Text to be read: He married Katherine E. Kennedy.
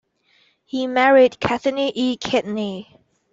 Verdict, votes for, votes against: rejected, 0, 2